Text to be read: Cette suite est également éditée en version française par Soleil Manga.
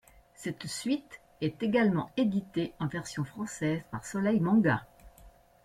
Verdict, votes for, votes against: accepted, 2, 0